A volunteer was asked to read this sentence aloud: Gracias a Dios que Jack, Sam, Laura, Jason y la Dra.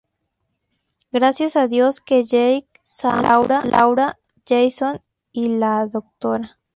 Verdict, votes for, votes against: rejected, 0, 2